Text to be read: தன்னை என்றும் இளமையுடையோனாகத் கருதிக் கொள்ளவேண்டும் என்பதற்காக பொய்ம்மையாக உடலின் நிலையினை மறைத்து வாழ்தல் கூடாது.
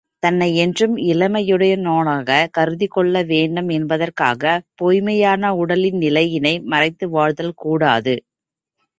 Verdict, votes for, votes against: accepted, 3, 2